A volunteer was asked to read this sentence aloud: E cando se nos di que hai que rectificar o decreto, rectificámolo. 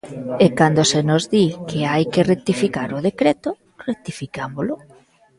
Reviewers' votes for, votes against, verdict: 2, 0, accepted